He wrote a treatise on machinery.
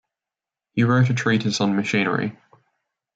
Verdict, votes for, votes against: accepted, 2, 0